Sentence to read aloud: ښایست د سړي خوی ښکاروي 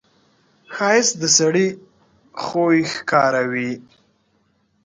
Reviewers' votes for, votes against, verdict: 2, 0, accepted